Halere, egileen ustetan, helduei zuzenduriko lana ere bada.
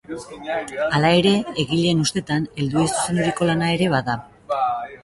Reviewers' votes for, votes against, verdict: 0, 3, rejected